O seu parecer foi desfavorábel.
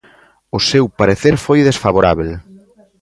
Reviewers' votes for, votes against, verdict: 2, 0, accepted